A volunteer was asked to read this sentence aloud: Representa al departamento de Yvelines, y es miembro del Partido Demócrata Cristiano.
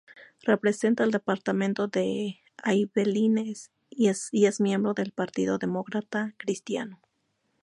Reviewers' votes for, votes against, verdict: 0, 2, rejected